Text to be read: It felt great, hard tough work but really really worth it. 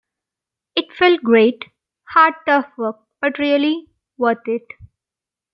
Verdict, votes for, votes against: rejected, 1, 2